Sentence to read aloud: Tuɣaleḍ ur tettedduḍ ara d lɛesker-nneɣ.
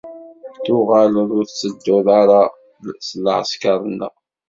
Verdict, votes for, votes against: rejected, 2, 3